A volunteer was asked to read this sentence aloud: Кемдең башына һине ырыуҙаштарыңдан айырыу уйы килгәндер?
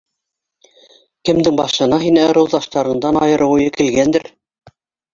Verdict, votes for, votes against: accepted, 2, 1